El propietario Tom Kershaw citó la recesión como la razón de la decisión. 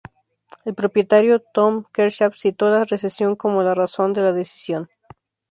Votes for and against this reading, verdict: 2, 0, accepted